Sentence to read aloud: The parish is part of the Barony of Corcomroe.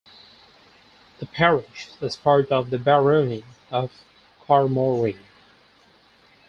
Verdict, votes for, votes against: rejected, 2, 4